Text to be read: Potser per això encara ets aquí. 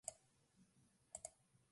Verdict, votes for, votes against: rejected, 0, 4